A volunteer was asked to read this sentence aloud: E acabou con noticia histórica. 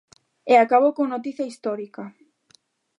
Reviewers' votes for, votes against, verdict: 2, 0, accepted